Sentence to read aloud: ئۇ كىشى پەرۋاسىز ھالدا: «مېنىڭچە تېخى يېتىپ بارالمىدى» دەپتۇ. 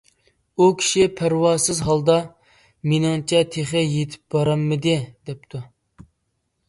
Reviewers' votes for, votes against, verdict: 2, 0, accepted